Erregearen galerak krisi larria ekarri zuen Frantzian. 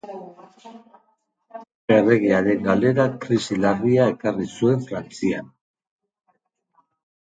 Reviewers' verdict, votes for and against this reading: rejected, 1, 2